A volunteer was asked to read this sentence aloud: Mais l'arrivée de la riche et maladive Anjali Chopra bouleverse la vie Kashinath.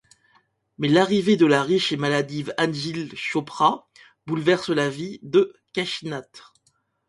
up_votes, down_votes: 0, 2